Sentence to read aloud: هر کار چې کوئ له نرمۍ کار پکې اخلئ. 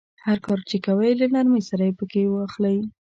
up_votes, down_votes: 0, 2